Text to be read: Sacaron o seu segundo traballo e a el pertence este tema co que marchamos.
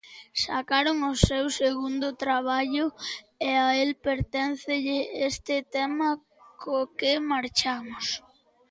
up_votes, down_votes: 0, 2